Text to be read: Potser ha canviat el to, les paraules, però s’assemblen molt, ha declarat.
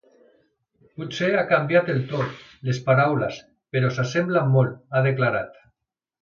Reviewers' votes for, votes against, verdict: 3, 0, accepted